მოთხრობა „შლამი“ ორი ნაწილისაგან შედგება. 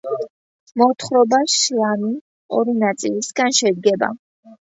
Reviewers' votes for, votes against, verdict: 2, 1, accepted